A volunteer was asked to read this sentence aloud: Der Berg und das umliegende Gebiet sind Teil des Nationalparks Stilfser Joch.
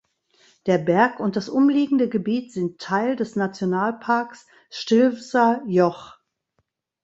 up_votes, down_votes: 2, 0